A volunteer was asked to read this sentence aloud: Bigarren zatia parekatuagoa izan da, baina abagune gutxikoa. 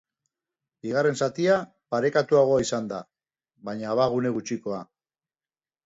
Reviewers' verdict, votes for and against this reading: accepted, 3, 0